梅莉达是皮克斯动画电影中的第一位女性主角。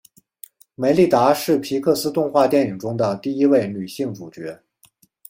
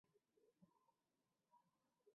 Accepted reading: first